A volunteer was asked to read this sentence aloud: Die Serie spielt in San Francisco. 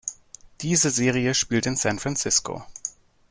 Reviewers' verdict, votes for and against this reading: rejected, 0, 2